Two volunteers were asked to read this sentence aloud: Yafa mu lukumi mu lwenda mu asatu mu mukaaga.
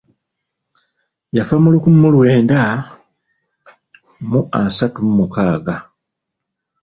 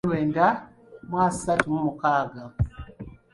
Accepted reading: first